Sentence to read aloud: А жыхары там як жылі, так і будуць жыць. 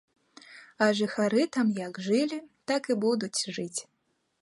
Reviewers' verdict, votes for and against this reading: rejected, 1, 2